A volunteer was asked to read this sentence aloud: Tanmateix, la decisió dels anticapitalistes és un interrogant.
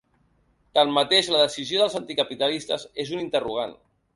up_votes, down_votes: 3, 0